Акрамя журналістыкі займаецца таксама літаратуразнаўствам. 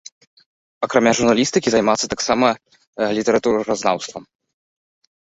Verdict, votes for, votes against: rejected, 0, 2